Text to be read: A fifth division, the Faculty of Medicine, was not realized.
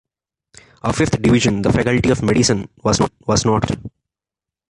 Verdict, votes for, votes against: rejected, 1, 2